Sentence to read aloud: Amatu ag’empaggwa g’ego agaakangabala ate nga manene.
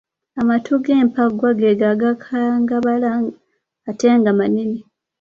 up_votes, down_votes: 1, 2